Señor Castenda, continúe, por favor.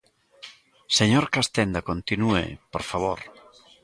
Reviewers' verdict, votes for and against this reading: accepted, 2, 0